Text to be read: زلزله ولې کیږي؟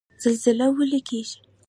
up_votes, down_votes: 2, 0